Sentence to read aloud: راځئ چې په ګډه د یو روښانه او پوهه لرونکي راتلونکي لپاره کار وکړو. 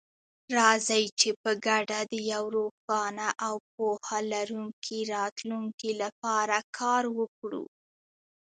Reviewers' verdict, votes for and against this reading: accepted, 2, 1